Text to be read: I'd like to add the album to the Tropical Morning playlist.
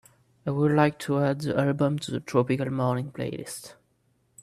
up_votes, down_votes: 2, 5